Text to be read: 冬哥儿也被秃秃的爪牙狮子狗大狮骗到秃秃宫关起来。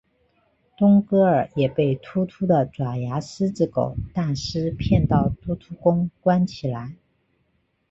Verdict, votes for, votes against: rejected, 1, 2